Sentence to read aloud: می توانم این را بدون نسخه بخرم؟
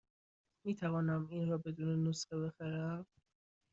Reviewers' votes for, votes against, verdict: 2, 0, accepted